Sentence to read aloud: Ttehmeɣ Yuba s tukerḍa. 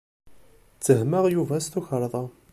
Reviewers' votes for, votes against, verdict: 2, 0, accepted